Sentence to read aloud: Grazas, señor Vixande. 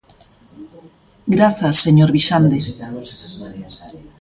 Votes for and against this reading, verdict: 0, 2, rejected